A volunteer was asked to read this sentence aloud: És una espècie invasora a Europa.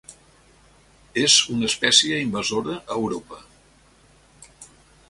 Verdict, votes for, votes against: accepted, 3, 0